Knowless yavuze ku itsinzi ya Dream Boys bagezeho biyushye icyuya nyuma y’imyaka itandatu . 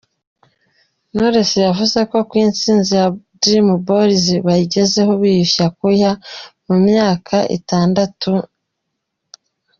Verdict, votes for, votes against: rejected, 0, 2